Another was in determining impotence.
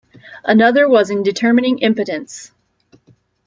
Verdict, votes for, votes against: accepted, 2, 0